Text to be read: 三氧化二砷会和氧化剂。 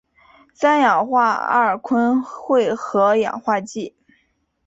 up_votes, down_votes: 2, 0